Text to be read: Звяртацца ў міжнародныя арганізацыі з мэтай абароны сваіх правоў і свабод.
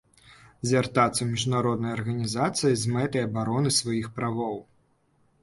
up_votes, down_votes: 0, 2